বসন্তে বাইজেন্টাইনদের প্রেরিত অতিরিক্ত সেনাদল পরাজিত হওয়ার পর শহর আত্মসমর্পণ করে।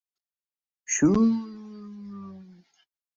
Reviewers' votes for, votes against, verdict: 0, 2, rejected